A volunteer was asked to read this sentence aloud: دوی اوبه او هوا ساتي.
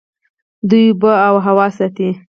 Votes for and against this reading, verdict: 2, 4, rejected